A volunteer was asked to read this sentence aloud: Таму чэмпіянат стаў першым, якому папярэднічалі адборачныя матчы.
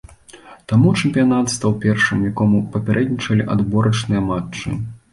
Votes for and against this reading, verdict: 2, 0, accepted